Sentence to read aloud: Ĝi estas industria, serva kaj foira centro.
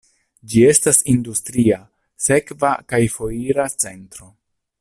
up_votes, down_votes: 0, 2